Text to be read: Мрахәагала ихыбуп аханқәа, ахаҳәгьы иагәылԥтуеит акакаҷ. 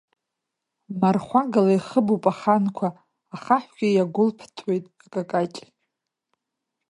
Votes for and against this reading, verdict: 1, 2, rejected